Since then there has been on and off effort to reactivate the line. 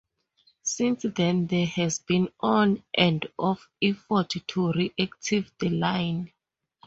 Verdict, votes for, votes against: rejected, 0, 2